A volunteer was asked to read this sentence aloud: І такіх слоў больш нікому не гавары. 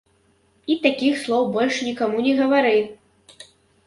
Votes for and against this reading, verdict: 1, 2, rejected